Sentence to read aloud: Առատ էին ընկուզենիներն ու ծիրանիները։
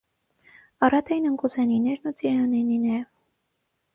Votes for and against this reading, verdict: 6, 0, accepted